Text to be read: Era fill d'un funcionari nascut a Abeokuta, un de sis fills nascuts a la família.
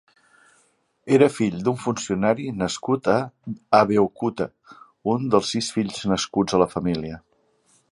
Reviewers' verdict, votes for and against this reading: accepted, 2, 1